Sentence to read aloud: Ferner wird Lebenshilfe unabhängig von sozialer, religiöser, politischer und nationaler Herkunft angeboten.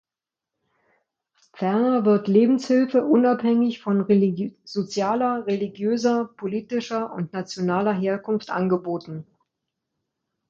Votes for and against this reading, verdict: 1, 2, rejected